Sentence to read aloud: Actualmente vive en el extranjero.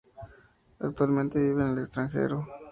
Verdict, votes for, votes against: rejected, 0, 2